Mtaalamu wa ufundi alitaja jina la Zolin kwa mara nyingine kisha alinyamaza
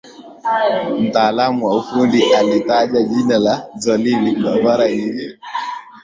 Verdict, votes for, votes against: rejected, 0, 2